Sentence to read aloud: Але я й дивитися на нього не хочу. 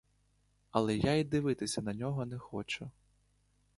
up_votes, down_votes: 2, 0